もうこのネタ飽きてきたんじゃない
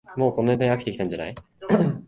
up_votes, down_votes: 1, 2